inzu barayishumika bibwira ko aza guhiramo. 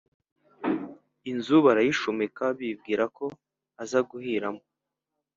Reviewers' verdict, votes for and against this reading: accepted, 4, 0